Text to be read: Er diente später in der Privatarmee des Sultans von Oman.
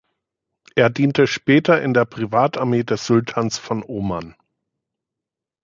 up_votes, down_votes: 2, 1